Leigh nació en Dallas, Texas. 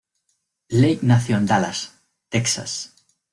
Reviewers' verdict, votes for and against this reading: accepted, 2, 0